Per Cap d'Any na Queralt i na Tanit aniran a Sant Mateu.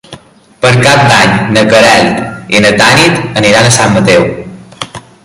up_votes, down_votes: 3, 1